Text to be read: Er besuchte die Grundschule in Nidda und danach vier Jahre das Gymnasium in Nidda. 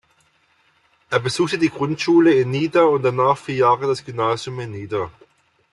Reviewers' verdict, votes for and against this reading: accepted, 2, 1